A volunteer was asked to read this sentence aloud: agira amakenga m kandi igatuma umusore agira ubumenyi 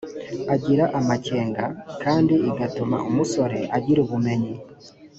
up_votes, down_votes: 3, 0